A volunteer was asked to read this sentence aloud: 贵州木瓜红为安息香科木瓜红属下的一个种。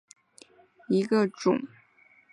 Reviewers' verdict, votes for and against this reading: rejected, 1, 2